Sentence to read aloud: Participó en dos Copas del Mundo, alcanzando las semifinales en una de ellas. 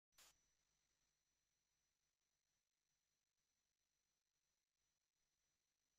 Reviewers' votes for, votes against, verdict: 0, 2, rejected